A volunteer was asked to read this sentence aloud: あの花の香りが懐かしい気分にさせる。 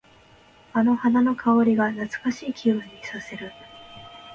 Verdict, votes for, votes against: accepted, 2, 0